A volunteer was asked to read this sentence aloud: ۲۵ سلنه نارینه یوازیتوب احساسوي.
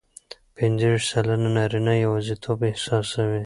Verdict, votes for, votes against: rejected, 0, 2